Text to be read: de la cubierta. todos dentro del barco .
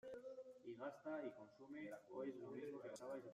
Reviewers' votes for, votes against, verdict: 0, 2, rejected